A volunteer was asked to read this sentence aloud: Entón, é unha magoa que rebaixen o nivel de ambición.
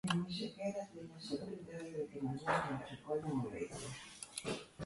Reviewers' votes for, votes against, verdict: 0, 2, rejected